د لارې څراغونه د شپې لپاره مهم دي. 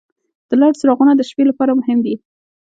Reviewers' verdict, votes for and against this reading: accepted, 2, 0